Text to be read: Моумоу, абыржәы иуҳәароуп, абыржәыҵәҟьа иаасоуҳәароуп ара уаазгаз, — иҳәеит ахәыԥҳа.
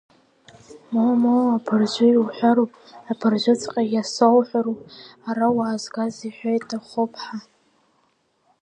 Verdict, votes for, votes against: rejected, 0, 2